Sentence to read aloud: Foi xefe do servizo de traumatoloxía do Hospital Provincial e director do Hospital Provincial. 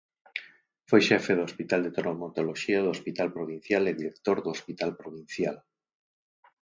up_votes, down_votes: 0, 4